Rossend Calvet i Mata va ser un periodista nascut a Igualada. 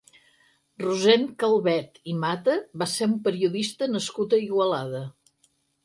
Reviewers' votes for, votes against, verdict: 4, 0, accepted